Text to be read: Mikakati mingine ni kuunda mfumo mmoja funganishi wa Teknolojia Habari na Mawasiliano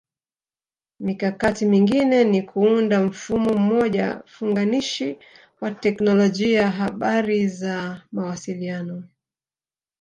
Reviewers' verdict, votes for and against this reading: rejected, 0, 2